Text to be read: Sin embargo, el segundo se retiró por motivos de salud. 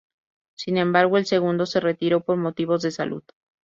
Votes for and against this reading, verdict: 2, 0, accepted